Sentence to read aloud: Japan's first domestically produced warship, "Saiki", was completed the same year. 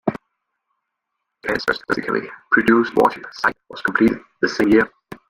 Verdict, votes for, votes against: rejected, 0, 2